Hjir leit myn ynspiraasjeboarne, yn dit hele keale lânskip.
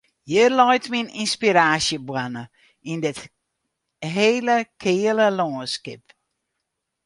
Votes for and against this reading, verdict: 2, 2, rejected